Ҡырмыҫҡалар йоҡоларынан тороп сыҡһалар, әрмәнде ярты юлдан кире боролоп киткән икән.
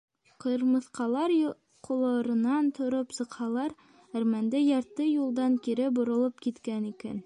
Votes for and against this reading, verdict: 1, 2, rejected